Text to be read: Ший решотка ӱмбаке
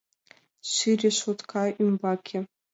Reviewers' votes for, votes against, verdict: 2, 0, accepted